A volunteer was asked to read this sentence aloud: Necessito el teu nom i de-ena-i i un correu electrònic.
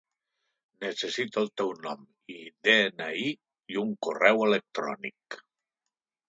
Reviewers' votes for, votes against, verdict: 2, 1, accepted